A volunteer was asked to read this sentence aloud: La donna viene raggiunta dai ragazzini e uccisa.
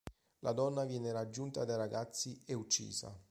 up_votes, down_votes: 1, 2